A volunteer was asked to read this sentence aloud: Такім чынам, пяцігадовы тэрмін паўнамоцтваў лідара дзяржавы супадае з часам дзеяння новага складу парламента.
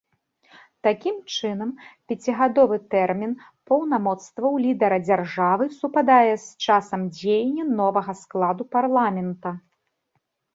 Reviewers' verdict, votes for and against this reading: accepted, 2, 1